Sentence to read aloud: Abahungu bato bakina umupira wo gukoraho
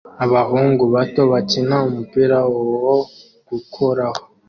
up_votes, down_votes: 2, 0